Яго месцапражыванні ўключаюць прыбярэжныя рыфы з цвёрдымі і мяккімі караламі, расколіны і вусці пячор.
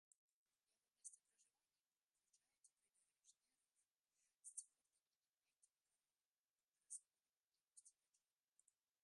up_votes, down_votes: 0, 2